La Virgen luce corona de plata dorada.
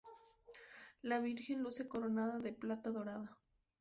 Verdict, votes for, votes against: rejected, 0, 2